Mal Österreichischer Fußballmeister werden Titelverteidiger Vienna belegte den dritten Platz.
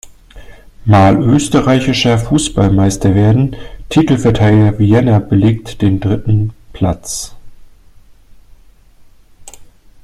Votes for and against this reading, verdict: 2, 1, accepted